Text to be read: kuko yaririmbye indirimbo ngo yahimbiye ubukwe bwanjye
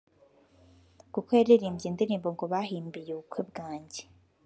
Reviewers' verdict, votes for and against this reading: rejected, 0, 2